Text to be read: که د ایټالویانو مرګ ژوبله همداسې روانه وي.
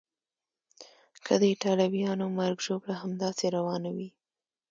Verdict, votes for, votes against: accepted, 2, 0